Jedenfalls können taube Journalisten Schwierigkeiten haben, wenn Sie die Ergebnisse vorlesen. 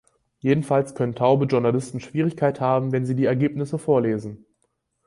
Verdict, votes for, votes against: rejected, 2, 4